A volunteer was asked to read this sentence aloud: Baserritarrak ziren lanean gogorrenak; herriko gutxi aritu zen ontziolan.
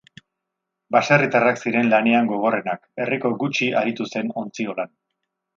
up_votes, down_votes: 2, 0